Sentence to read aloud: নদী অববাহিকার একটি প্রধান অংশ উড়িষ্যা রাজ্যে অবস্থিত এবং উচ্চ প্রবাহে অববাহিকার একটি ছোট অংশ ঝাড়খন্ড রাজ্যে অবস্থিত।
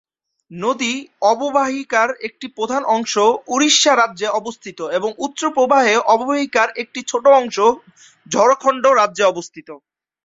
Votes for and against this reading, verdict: 0, 2, rejected